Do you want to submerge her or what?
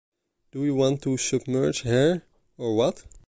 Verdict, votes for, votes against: accepted, 2, 0